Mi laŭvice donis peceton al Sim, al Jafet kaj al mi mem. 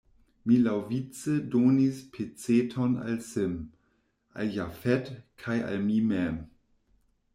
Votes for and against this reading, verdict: 2, 0, accepted